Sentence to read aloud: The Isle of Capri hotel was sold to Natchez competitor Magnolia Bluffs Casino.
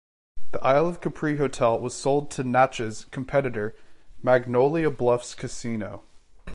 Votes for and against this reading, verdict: 2, 0, accepted